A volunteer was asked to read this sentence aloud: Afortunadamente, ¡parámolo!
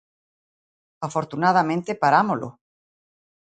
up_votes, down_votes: 2, 0